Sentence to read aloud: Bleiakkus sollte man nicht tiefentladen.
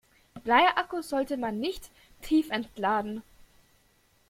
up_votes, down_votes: 2, 0